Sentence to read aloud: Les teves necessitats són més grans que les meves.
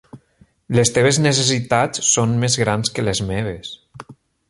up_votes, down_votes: 3, 0